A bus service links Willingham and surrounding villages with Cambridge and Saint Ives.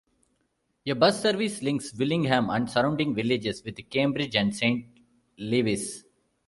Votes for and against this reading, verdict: 0, 2, rejected